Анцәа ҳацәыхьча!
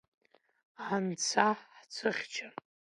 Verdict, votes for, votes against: rejected, 1, 2